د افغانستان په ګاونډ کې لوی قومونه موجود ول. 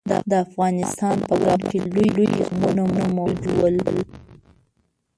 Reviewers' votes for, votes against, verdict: 0, 2, rejected